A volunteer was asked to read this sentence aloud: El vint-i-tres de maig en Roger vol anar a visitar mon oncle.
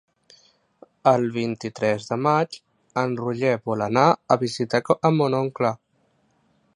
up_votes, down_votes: 0, 2